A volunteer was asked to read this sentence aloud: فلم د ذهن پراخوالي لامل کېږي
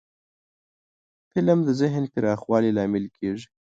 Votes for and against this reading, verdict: 1, 2, rejected